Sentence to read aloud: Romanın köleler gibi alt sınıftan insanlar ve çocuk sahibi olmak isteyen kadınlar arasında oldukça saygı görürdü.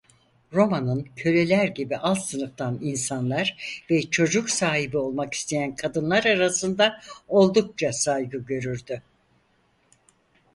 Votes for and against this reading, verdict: 4, 0, accepted